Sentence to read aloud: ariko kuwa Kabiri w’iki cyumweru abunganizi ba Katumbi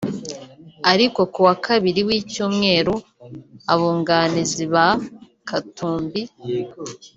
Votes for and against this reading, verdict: 2, 3, rejected